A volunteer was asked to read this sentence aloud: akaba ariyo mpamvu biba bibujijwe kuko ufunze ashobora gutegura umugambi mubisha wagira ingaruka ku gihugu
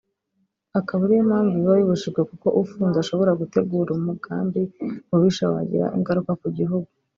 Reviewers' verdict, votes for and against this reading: accepted, 4, 0